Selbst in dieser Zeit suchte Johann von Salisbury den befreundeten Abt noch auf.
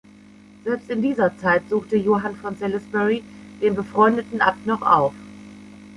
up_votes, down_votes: 2, 0